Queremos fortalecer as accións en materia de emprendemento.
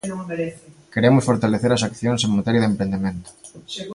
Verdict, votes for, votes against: accepted, 2, 1